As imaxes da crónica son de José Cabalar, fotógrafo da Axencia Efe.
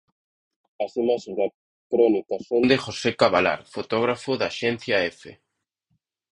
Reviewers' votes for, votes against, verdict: 0, 2, rejected